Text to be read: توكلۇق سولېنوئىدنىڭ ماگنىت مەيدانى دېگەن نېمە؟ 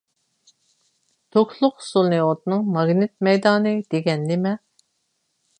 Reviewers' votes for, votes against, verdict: 0, 2, rejected